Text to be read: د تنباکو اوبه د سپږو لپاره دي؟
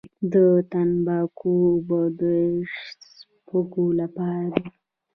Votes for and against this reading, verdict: 2, 0, accepted